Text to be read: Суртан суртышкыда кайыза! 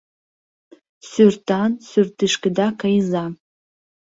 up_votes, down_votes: 0, 2